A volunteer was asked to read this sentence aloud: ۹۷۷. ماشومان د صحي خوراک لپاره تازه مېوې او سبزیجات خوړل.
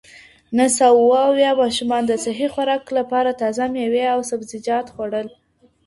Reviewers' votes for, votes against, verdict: 0, 2, rejected